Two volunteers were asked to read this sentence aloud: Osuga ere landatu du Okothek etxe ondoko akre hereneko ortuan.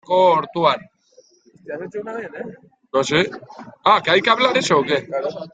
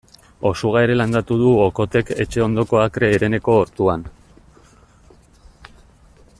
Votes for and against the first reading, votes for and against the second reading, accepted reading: 0, 2, 2, 1, second